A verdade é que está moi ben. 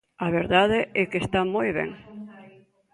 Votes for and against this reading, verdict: 0, 2, rejected